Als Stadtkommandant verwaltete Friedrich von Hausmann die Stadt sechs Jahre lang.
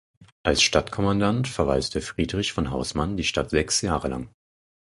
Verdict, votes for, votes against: accepted, 4, 0